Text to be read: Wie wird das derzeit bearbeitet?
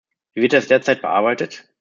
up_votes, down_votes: 0, 2